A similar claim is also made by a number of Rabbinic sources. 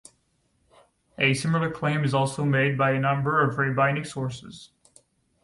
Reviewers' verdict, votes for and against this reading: accepted, 2, 0